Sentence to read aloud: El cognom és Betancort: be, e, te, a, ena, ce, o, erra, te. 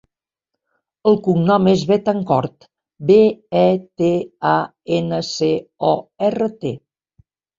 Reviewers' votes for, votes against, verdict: 3, 0, accepted